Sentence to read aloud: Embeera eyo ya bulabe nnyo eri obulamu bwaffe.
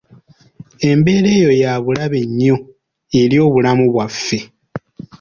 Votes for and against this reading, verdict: 2, 0, accepted